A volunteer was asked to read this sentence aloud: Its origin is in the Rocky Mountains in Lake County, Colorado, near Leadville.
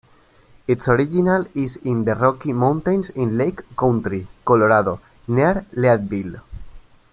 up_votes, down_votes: 1, 2